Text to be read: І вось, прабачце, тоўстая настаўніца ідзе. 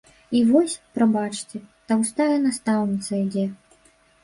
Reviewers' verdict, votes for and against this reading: rejected, 1, 2